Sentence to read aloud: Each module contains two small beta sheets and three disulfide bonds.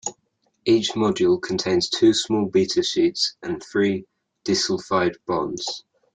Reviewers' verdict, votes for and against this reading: accepted, 2, 0